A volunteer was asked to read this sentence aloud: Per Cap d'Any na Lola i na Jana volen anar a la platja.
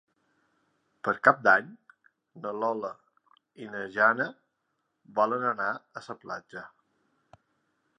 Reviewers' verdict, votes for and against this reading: rejected, 0, 2